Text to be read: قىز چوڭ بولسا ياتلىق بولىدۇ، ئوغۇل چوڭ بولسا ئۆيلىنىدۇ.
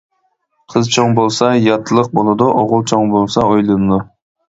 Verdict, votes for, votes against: accepted, 2, 0